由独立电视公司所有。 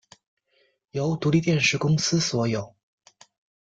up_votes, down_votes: 2, 0